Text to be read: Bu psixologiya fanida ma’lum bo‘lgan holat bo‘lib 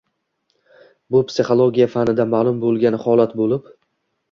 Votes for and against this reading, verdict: 2, 0, accepted